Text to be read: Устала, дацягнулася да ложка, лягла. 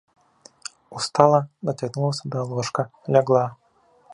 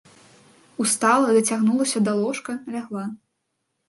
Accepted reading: second